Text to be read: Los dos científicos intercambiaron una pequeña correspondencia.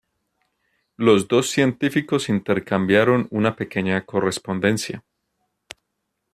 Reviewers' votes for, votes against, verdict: 2, 0, accepted